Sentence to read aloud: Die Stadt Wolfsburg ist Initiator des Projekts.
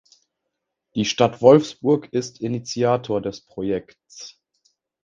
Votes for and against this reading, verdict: 2, 0, accepted